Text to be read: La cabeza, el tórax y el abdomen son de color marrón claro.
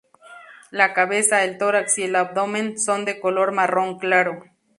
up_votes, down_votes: 2, 2